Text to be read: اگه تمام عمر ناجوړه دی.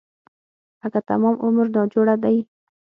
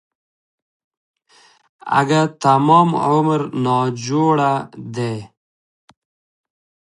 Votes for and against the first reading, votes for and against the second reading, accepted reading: 3, 6, 2, 0, second